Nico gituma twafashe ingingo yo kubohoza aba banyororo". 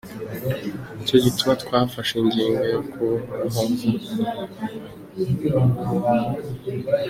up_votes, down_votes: 0, 2